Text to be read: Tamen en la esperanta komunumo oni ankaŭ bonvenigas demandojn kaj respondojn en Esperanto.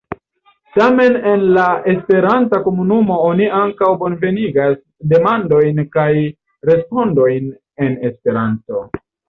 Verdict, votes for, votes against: accepted, 2, 1